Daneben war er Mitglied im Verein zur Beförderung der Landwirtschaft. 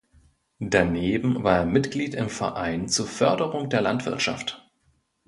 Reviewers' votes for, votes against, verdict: 1, 2, rejected